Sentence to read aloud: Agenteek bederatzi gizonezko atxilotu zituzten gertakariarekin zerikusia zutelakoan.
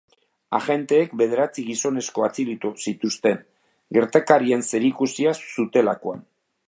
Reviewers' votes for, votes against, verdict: 1, 2, rejected